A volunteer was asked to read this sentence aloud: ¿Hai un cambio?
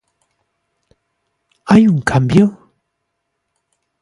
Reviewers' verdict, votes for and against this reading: accepted, 2, 0